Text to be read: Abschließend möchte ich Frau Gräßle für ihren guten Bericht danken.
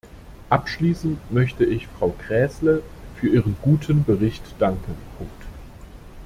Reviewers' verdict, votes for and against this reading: rejected, 0, 2